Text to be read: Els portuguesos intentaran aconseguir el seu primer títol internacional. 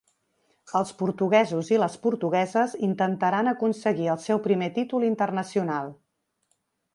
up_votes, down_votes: 0, 2